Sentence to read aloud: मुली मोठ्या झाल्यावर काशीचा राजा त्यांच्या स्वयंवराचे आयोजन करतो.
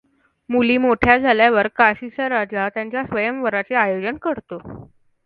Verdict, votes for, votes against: accepted, 2, 0